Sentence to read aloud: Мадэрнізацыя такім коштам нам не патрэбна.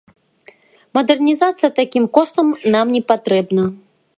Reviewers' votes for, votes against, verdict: 1, 2, rejected